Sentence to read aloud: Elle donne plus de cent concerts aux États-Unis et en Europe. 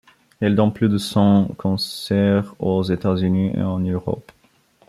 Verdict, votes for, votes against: rejected, 1, 2